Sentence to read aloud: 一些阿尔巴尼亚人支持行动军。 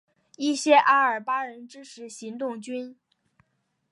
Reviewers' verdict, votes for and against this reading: accepted, 2, 0